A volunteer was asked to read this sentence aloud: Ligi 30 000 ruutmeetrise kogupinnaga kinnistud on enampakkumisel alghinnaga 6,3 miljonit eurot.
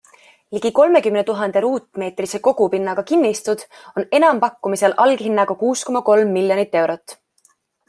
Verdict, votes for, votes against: rejected, 0, 2